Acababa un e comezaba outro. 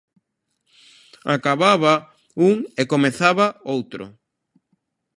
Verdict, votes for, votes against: accepted, 2, 0